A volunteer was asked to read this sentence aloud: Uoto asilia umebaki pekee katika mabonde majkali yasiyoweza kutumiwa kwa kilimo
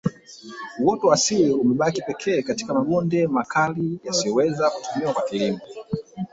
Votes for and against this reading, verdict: 0, 2, rejected